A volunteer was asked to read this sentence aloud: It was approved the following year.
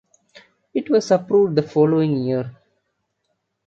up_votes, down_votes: 2, 0